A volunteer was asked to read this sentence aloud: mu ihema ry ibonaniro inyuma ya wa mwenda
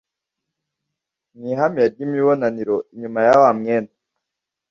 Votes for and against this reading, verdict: 1, 2, rejected